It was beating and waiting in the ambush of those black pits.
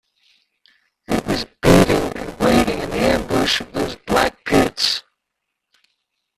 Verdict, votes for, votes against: rejected, 0, 2